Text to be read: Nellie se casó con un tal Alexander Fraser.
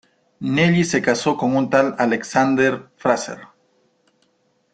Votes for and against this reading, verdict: 2, 0, accepted